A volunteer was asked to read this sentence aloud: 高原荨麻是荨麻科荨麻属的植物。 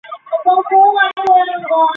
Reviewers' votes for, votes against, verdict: 3, 2, accepted